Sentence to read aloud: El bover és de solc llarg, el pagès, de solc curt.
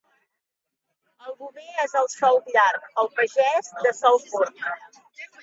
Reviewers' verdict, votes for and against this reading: rejected, 1, 2